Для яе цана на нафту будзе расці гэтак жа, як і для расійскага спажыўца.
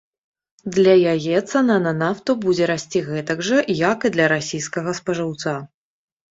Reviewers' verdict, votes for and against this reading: accepted, 2, 0